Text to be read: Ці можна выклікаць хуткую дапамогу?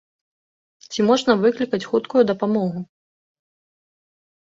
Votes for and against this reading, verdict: 2, 0, accepted